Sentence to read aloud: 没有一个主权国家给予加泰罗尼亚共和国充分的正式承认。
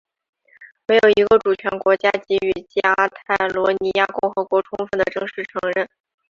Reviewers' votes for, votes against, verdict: 1, 2, rejected